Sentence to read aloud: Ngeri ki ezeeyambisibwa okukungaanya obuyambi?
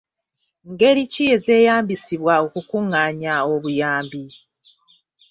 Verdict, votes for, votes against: accepted, 2, 0